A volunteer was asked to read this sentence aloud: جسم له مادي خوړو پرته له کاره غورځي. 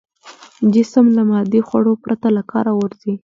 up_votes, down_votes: 2, 0